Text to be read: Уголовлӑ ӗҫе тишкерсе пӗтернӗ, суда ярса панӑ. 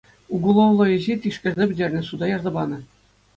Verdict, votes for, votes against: accepted, 2, 0